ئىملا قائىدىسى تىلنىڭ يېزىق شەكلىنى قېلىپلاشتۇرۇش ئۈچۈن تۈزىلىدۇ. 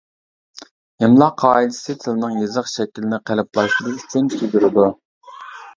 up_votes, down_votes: 0, 2